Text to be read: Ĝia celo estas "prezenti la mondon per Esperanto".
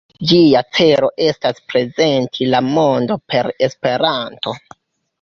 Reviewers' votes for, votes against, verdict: 2, 0, accepted